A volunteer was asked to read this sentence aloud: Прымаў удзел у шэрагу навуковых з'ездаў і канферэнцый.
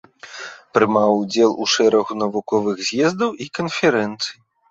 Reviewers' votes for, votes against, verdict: 2, 0, accepted